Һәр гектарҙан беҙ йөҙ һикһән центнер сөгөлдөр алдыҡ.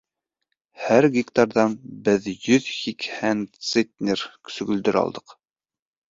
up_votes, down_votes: 2, 0